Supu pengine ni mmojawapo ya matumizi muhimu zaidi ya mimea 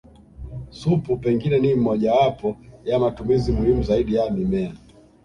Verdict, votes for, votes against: accepted, 2, 0